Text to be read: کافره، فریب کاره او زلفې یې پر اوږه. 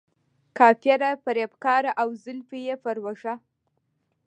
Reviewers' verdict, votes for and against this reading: accepted, 2, 0